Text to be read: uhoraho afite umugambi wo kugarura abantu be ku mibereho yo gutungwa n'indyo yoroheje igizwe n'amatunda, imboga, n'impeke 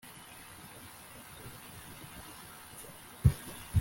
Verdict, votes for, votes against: rejected, 0, 2